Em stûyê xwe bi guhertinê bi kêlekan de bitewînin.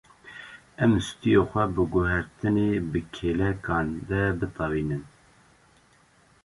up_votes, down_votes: 2, 0